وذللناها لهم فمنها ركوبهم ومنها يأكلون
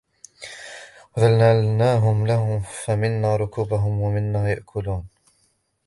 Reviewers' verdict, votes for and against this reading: rejected, 0, 3